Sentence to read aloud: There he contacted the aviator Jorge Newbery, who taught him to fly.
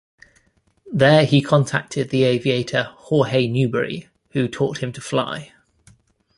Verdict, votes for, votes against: accepted, 2, 0